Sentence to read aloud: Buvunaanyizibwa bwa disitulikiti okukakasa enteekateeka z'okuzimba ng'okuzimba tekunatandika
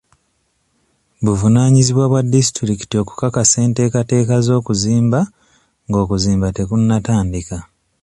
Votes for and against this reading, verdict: 2, 0, accepted